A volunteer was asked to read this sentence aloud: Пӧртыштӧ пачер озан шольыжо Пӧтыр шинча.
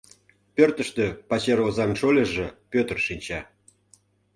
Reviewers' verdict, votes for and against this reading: accepted, 2, 0